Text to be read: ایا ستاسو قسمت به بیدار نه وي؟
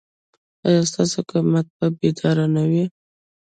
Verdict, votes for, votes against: rejected, 0, 2